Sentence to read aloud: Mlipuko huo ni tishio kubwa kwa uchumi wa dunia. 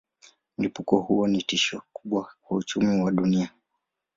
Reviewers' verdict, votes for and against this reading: accepted, 2, 0